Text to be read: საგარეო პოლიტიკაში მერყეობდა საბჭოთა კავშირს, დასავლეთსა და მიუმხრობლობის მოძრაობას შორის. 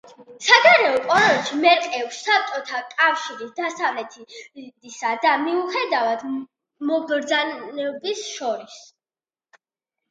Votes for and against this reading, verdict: 0, 2, rejected